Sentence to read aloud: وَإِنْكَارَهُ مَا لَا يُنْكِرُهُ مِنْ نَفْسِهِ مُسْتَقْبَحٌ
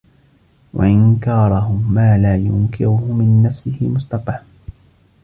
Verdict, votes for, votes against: rejected, 1, 2